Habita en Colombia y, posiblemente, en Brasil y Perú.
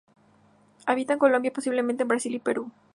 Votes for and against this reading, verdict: 0, 2, rejected